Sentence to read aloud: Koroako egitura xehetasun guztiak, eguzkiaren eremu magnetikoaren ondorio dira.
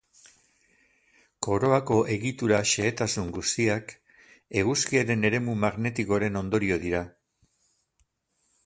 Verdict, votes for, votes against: rejected, 2, 2